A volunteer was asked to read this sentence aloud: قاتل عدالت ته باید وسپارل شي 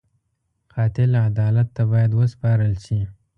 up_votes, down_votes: 2, 0